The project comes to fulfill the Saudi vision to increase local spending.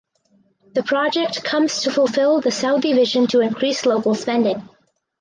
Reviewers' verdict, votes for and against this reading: accepted, 4, 0